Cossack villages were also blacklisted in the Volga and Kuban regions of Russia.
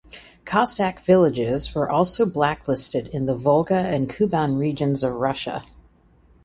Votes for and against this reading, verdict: 2, 0, accepted